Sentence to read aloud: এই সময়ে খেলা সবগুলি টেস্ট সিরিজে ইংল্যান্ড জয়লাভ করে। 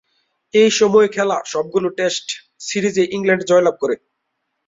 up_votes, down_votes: 5, 2